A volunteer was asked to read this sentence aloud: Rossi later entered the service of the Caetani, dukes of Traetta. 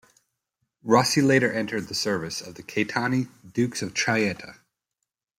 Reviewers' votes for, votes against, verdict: 1, 2, rejected